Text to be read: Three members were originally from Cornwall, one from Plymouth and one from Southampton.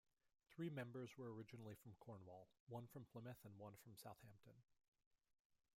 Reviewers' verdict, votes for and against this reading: accepted, 2, 0